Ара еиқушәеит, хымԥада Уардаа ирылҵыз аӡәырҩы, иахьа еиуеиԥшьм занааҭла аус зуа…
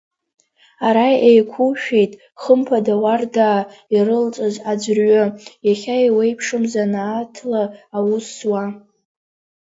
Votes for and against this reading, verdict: 1, 2, rejected